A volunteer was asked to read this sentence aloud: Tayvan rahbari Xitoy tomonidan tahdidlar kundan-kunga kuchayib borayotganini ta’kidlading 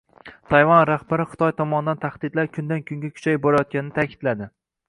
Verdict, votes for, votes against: rejected, 1, 2